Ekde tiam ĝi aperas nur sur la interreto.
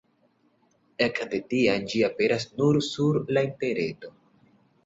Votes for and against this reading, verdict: 1, 2, rejected